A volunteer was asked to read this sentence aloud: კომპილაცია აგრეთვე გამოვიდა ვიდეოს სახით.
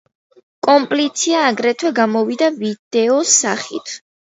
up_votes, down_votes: 0, 2